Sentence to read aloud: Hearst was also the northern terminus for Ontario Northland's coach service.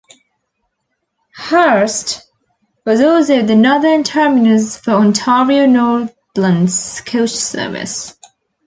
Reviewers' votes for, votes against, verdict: 2, 0, accepted